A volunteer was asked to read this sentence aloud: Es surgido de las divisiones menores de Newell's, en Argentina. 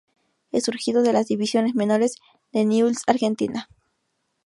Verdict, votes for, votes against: rejected, 0, 4